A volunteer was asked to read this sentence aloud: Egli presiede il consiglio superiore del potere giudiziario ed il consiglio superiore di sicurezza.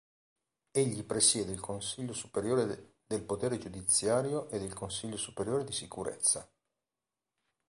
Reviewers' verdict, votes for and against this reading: rejected, 0, 2